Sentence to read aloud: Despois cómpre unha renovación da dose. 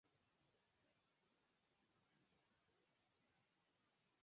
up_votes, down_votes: 0, 4